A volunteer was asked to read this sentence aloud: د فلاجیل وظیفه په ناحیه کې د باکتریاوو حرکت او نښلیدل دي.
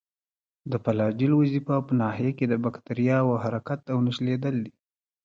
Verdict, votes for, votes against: accepted, 2, 1